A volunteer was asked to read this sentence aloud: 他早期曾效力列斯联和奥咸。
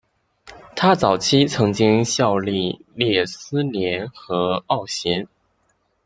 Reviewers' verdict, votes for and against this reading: accepted, 3, 0